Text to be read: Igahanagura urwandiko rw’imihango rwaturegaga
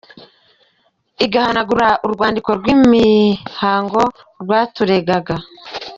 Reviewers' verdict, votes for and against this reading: rejected, 0, 2